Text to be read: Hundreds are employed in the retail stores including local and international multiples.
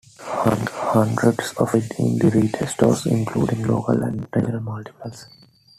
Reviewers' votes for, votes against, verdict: 0, 2, rejected